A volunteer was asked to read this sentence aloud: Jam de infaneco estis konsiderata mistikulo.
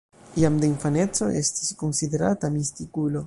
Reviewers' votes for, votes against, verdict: 0, 2, rejected